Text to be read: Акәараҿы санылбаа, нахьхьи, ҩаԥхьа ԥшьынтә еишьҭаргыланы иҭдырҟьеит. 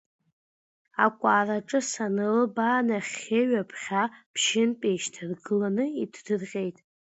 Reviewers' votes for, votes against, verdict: 2, 0, accepted